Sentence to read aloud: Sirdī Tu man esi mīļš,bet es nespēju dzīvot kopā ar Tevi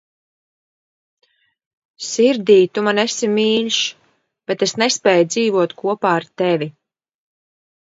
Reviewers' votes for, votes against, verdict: 2, 0, accepted